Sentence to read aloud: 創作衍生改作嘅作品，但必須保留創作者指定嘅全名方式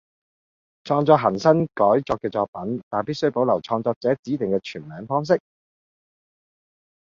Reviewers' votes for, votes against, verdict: 0, 2, rejected